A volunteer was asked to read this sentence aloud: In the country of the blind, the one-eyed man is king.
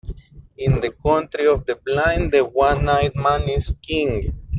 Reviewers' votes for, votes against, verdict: 2, 0, accepted